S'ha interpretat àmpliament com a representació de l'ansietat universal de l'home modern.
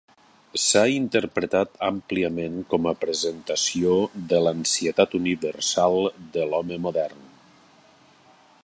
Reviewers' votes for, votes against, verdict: 0, 2, rejected